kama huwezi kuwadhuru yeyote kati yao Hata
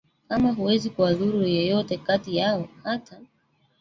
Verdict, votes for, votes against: rejected, 1, 2